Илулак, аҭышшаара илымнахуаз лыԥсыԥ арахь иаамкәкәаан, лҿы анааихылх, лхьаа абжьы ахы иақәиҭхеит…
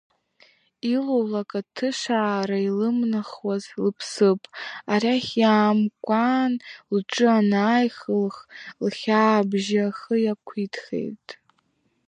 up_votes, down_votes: 0, 3